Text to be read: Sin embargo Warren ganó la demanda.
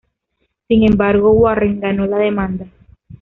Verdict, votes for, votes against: accepted, 2, 0